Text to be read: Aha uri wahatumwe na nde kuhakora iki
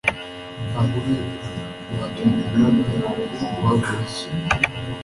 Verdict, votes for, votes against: rejected, 1, 2